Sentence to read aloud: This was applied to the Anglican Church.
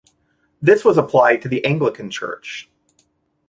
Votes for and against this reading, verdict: 2, 0, accepted